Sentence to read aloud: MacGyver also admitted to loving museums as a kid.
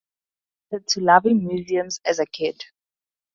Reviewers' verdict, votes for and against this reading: rejected, 0, 4